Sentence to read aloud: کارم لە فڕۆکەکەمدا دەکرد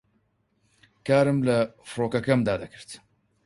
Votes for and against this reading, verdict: 4, 0, accepted